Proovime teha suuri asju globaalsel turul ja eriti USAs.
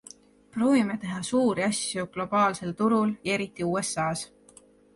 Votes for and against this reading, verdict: 2, 0, accepted